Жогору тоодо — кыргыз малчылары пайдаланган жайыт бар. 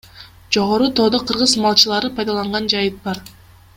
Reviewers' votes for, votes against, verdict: 2, 0, accepted